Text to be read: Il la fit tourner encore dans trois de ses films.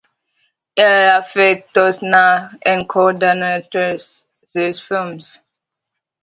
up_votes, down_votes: 0, 2